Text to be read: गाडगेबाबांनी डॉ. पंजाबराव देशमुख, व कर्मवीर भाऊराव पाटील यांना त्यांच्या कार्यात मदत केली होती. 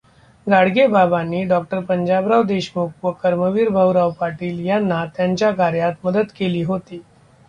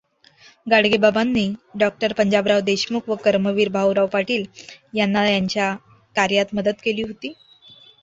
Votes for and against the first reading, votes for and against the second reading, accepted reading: 1, 2, 2, 0, second